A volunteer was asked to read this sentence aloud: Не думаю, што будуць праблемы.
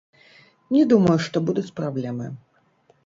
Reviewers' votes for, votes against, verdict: 0, 2, rejected